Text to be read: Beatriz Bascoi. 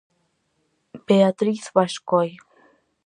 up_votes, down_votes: 4, 0